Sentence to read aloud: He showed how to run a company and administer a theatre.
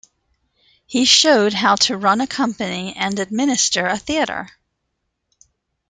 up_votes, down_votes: 1, 2